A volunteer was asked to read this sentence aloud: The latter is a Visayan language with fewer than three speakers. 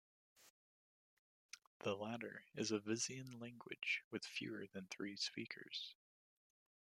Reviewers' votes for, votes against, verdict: 2, 1, accepted